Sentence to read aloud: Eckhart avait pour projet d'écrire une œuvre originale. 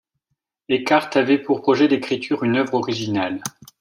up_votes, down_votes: 1, 2